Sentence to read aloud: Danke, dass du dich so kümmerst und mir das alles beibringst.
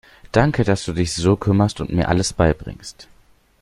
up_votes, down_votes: 0, 2